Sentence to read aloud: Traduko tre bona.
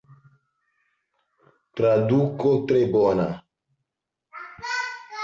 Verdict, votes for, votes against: rejected, 1, 2